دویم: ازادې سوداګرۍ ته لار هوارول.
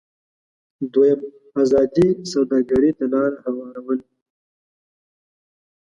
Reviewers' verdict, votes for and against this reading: rejected, 1, 2